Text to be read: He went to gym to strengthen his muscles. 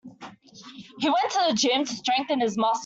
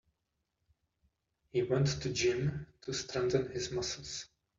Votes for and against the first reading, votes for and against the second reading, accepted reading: 0, 2, 2, 1, second